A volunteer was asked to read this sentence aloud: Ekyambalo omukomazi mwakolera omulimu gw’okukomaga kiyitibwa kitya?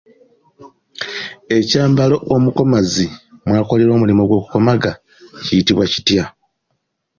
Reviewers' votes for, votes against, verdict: 2, 0, accepted